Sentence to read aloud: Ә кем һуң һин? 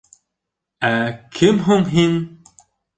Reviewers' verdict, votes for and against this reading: accepted, 2, 0